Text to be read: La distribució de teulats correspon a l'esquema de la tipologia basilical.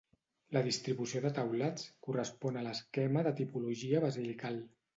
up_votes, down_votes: 0, 2